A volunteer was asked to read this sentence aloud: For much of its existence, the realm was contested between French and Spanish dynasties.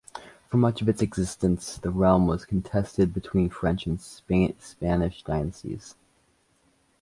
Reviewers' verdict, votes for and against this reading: rejected, 0, 2